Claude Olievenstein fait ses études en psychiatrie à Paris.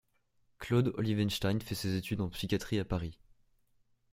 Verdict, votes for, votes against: accepted, 2, 0